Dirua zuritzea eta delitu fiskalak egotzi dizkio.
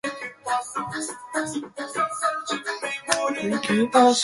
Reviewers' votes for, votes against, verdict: 0, 2, rejected